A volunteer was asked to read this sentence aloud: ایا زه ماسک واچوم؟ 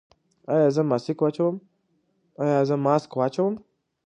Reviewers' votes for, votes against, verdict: 2, 1, accepted